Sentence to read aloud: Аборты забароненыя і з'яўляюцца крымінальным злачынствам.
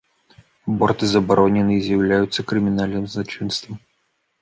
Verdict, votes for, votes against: rejected, 1, 2